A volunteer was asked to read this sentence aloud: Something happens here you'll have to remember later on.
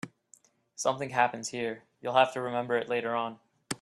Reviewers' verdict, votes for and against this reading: rejected, 1, 2